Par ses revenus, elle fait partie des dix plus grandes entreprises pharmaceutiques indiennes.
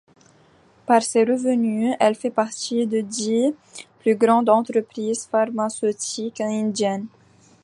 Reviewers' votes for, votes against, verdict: 2, 1, accepted